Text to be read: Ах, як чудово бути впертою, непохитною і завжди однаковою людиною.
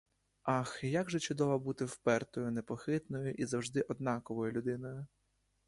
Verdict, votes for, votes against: rejected, 1, 2